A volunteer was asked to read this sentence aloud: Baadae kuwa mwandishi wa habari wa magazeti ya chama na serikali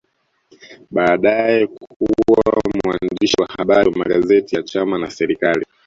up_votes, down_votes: 1, 2